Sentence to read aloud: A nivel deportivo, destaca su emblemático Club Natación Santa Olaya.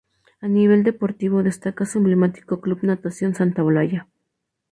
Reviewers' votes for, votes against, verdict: 2, 0, accepted